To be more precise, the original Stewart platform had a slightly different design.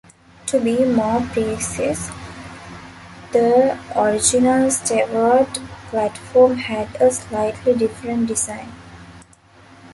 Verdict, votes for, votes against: rejected, 0, 3